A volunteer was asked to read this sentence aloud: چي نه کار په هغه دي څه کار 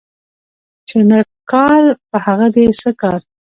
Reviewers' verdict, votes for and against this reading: rejected, 0, 2